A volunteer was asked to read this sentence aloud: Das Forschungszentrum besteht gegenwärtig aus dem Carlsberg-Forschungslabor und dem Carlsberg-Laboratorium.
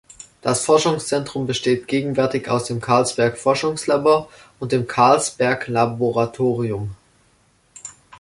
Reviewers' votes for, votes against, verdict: 2, 0, accepted